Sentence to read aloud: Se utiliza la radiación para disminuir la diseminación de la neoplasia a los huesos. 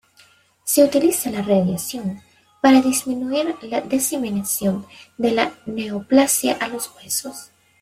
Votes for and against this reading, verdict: 1, 2, rejected